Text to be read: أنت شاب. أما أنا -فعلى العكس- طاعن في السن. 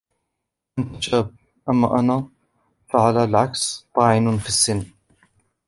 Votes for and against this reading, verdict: 1, 2, rejected